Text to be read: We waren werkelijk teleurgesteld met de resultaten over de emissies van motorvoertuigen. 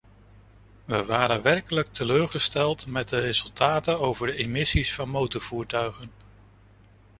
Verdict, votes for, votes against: accepted, 2, 0